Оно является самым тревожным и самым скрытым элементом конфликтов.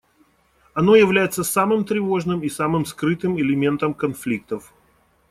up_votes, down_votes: 2, 0